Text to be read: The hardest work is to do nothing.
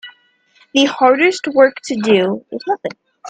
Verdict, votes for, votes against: rejected, 0, 2